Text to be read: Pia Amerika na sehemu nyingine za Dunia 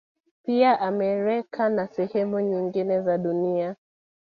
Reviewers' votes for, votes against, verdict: 0, 2, rejected